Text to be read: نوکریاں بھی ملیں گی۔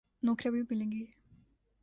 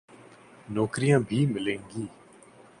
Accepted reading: second